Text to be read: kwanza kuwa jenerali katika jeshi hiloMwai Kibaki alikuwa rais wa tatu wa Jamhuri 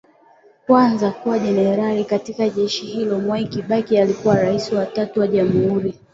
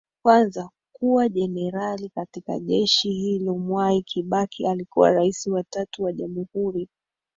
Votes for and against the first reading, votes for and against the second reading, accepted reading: 2, 0, 1, 2, first